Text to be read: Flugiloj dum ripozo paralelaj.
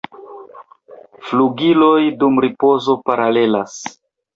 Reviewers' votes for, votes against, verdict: 0, 2, rejected